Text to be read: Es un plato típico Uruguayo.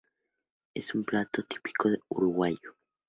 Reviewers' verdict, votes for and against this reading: accepted, 2, 0